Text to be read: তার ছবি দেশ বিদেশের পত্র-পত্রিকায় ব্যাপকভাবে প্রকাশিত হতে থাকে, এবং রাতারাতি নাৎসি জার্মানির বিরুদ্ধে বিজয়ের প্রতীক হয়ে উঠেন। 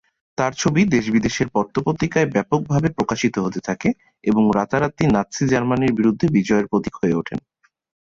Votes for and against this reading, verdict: 5, 0, accepted